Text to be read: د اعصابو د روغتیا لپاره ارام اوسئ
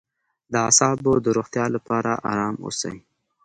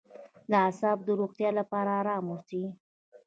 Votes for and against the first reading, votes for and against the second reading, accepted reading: 2, 0, 1, 2, first